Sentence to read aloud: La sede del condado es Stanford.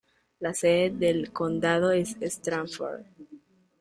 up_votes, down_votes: 1, 2